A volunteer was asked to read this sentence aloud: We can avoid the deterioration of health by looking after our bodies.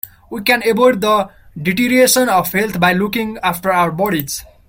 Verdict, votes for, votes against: rejected, 1, 2